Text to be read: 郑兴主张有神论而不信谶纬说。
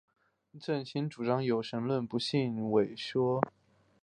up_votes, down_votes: 1, 2